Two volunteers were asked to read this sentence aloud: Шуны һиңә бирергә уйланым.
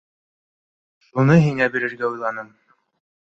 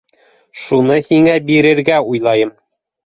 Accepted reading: first